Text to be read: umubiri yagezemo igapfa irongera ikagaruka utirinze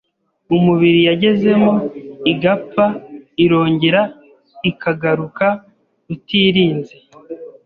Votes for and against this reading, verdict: 2, 0, accepted